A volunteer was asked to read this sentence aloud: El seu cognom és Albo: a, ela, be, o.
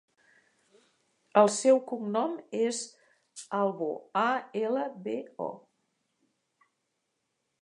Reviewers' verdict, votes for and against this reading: accepted, 2, 0